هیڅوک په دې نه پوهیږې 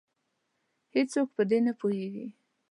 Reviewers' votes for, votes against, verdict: 2, 0, accepted